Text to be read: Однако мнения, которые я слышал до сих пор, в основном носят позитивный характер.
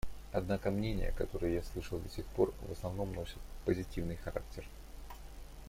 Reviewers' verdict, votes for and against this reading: accepted, 2, 0